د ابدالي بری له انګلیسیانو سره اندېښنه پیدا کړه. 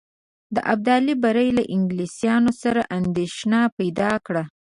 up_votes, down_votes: 0, 2